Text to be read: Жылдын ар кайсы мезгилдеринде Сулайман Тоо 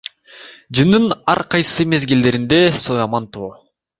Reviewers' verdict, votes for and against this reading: rejected, 0, 2